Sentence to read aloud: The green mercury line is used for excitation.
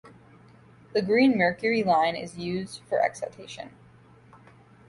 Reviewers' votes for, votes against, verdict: 2, 0, accepted